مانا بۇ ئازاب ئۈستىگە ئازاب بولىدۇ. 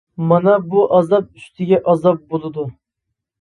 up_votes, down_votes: 2, 0